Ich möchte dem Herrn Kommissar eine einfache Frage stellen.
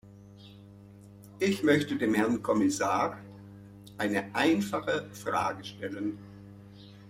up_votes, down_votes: 2, 0